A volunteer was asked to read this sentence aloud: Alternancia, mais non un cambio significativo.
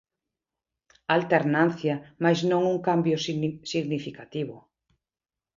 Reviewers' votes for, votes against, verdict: 0, 2, rejected